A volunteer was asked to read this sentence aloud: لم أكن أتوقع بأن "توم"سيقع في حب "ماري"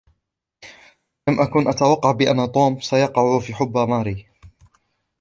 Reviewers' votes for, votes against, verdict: 1, 2, rejected